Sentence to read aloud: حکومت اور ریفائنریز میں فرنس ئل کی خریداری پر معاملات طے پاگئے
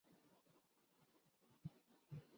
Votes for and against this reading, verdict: 1, 9, rejected